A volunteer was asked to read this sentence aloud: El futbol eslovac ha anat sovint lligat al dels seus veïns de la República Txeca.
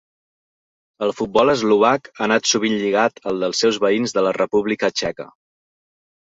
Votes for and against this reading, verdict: 2, 0, accepted